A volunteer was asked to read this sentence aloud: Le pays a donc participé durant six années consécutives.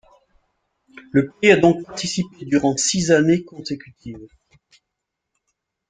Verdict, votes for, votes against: rejected, 0, 2